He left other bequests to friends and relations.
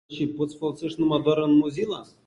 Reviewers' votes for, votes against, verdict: 0, 5, rejected